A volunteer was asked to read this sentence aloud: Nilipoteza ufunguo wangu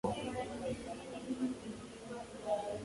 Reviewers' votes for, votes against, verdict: 0, 2, rejected